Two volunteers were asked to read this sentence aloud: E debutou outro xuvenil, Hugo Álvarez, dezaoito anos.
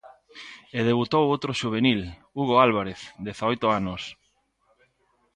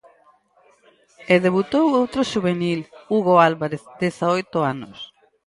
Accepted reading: first